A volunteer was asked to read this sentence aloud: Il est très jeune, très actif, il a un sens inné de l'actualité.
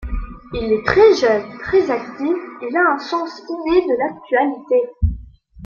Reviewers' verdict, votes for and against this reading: accepted, 2, 1